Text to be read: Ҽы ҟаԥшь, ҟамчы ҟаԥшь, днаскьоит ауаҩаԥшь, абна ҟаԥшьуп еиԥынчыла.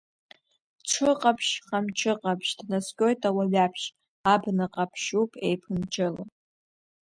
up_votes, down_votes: 1, 2